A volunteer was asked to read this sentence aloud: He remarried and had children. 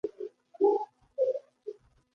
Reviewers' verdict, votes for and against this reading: rejected, 0, 2